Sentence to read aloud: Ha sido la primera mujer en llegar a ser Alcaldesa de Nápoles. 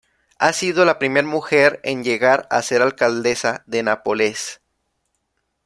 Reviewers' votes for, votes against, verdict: 1, 2, rejected